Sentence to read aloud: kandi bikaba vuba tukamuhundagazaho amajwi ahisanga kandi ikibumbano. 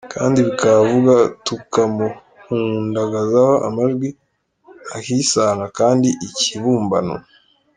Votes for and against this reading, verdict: 2, 0, accepted